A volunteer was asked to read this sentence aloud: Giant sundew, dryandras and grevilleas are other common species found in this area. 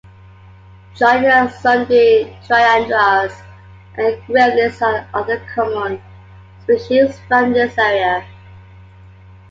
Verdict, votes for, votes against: rejected, 1, 2